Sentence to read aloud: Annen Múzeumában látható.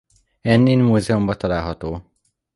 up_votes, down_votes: 0, 2